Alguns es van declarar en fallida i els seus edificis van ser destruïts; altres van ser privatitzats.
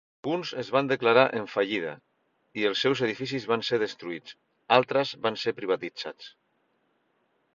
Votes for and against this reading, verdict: 1, 2, rejected